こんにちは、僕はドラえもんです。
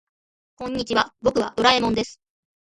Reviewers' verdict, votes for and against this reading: rejected, 1, 2